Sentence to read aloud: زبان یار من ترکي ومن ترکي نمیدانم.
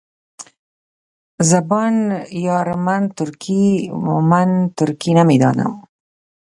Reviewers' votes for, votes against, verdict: 1, 2, rejected